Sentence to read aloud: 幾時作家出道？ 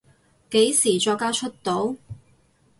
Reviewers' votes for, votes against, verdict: 4, 0, accepted